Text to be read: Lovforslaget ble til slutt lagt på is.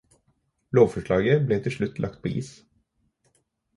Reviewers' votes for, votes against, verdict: 4, 0, accepted